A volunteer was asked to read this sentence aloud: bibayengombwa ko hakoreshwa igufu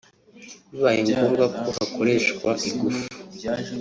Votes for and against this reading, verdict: 3, 0, accepted